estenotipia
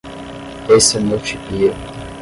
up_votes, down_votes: 5, 5